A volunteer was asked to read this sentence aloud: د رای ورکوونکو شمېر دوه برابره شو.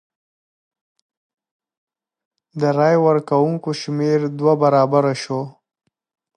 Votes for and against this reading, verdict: 3, 1, accepted